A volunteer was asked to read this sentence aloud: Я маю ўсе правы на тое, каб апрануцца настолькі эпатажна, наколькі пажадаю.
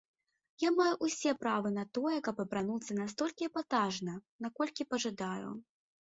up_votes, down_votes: 1, 2